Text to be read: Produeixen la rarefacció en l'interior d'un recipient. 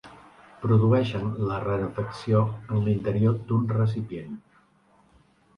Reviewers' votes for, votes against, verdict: 2, 1, accepted